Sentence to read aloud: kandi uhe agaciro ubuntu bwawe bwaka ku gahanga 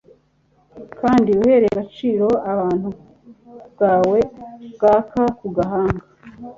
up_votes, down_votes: 2, 0